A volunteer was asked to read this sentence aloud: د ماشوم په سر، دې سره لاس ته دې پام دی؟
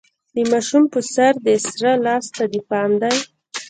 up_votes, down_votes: 2, 1